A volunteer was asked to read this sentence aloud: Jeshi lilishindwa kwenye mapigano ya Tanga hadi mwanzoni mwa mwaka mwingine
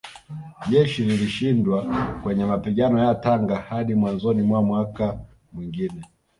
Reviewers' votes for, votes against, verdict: 2, 0, accepted